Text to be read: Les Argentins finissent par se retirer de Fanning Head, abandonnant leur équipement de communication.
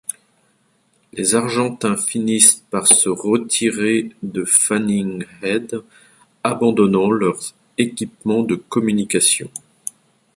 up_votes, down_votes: 0, 2